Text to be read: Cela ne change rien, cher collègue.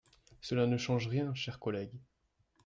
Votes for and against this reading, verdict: 2, 0, accepted